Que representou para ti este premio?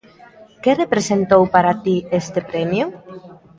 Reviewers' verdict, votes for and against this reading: accepted, 2, 0